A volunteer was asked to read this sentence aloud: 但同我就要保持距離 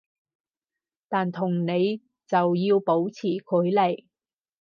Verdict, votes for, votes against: rejected, 2, 4